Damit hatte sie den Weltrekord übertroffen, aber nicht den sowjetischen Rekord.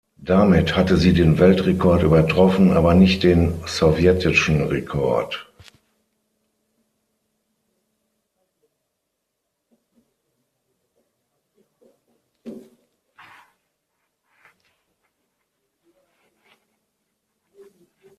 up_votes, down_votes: 3, 6